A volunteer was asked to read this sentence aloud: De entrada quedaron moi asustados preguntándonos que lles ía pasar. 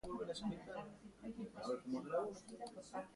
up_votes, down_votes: 0, 2